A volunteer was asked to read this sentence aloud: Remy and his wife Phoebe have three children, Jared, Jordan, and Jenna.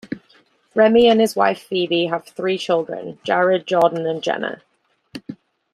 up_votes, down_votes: 2, 0